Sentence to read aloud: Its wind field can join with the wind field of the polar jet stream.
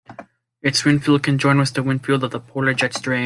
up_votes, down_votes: 1, 2